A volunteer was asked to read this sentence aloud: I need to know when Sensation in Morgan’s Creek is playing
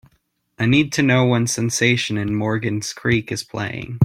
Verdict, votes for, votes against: accepted, 2, 0